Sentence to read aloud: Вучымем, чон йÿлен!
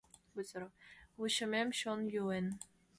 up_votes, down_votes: 1, 2